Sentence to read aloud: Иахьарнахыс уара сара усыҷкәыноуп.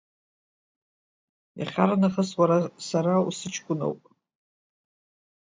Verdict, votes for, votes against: accepted, 2, 1